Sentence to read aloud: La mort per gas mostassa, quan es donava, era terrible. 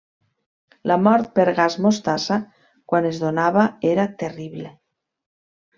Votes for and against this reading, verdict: 3, 0, accepted